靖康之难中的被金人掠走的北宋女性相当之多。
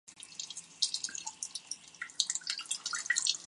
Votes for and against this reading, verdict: 0, 2, rejected